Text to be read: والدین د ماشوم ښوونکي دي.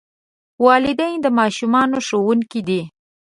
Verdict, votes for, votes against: rejected, 0, 2